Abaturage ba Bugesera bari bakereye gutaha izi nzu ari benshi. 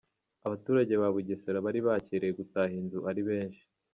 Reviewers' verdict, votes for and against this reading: accepted, 3, 0